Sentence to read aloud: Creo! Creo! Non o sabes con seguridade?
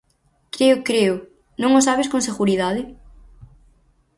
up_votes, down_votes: 4, 0